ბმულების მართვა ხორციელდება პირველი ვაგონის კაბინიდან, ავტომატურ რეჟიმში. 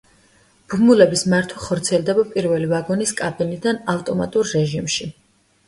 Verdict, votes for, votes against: accepted, 2, 0